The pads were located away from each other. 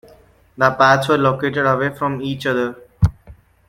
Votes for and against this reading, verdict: 2, 0, accepted